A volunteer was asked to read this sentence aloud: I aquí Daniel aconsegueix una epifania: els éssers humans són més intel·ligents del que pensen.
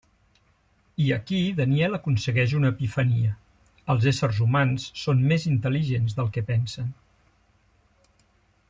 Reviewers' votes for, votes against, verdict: 3, 0, accepted